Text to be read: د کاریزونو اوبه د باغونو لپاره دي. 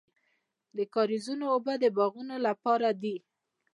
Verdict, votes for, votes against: accepted, 2, 1